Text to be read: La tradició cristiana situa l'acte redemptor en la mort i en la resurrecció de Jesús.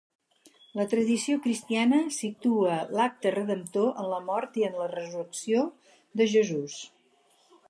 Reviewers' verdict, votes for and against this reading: accepted, 4, 0